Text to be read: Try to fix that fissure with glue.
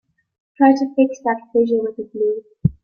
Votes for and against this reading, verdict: 2, 4, rejected